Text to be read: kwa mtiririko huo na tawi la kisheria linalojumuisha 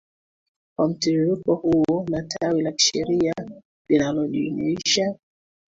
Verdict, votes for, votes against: accepted, 2, 1